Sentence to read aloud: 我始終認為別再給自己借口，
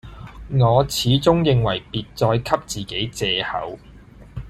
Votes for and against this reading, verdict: 2, 0, accepted